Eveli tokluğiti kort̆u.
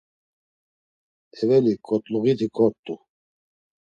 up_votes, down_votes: 1, 2